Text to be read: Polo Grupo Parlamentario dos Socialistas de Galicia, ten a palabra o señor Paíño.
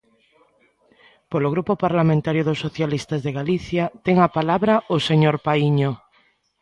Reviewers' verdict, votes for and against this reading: accepted, 2, 0